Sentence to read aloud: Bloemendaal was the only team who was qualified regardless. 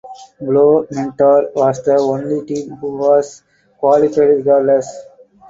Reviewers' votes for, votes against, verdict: 2, 4, rejected